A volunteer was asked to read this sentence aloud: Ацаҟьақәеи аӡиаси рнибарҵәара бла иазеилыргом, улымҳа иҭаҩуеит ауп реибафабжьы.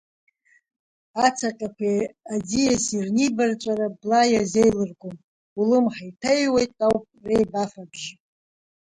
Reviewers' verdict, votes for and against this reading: rejected, 1, 2